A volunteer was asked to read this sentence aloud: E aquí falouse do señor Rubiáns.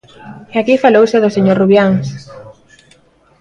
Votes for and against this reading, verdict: 2, 0, accepted